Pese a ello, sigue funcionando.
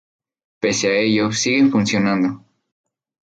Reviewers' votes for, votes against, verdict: 2, 2, rejected